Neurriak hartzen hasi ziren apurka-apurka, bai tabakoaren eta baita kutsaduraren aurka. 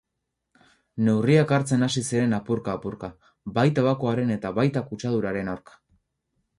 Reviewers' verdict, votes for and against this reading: accepted, 4, 0